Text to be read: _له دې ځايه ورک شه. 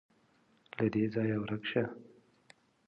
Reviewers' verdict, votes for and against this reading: accepted, 2, 0